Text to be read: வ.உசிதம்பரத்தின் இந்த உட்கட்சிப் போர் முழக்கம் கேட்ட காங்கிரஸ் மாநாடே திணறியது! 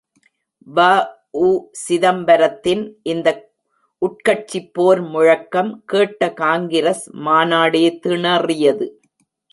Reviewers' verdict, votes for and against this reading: accepted, 2, 1